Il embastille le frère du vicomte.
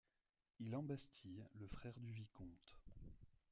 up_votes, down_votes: 0, 2